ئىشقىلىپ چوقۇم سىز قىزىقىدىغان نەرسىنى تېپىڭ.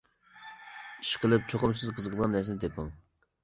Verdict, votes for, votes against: rejected, 1, 2